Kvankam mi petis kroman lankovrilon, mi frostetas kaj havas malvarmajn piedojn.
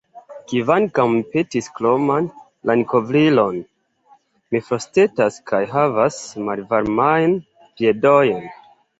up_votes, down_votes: 0, 2